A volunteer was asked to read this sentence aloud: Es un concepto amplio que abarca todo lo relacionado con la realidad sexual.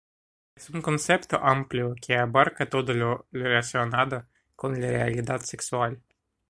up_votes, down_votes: 2, 0